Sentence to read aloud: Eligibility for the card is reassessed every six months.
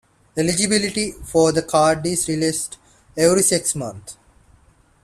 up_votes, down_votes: 0, 2